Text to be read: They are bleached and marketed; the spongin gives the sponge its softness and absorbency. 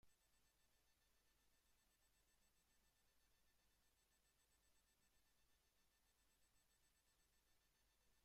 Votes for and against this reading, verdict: 0, 2, rejected